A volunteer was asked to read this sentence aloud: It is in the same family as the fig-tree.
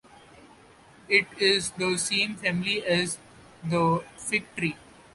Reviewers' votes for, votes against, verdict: 0, 2, rejected